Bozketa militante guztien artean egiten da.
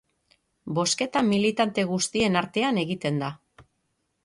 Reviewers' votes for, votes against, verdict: 3, 3, rejected